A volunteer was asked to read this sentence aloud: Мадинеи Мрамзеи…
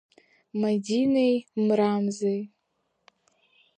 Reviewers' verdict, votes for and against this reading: accepted, 2, 0